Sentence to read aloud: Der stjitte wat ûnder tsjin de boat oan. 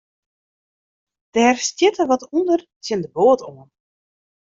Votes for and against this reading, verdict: 0, 2, rejected